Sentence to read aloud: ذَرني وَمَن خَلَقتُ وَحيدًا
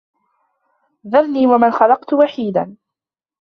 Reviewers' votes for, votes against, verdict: 2, 0, accepted